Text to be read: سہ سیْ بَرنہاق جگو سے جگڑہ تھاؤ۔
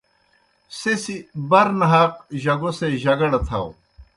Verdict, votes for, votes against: accepted, 2, 0